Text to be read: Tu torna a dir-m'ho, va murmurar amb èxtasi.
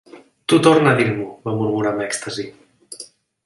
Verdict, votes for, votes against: accepted, 3, 0